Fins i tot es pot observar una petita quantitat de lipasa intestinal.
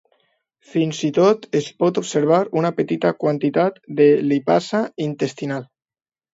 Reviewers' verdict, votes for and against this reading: accepted, 2, 0